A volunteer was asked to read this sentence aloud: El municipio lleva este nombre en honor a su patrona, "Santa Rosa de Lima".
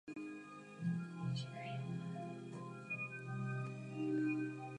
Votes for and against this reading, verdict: 0, 2, rejected